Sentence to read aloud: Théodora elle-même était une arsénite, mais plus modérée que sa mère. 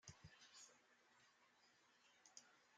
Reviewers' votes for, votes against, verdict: 0, 2, rejected